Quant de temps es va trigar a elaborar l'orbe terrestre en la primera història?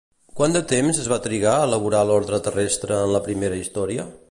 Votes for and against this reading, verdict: 1, 2, rejected